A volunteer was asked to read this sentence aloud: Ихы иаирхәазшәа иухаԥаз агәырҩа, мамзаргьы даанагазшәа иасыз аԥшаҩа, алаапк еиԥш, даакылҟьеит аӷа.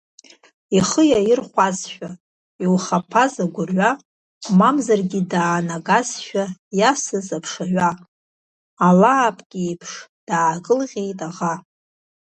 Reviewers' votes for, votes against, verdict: 1, 2, rejected